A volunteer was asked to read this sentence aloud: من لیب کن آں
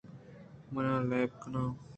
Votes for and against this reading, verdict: 2, 1, accepted